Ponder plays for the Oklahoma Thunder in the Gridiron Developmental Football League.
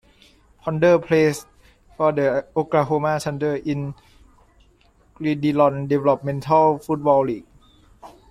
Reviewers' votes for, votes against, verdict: 0, 2, rejected